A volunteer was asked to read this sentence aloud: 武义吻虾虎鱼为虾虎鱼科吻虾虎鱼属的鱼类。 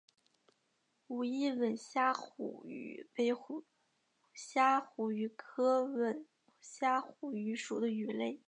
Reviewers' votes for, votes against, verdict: 2, 5, rejected